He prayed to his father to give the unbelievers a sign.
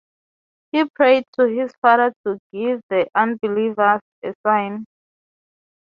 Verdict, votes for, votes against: accepted, 3, 0